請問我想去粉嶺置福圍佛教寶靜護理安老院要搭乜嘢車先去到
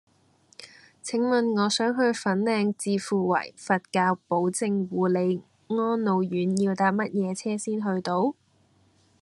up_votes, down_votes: 0, 2